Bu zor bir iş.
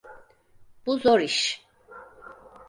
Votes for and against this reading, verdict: 2, 4, rejected